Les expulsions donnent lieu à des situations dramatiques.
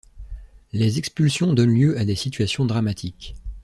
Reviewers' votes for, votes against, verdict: 2, 0, accepted